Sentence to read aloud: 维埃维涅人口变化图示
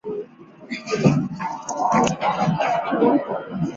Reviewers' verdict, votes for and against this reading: rejected, 0, 3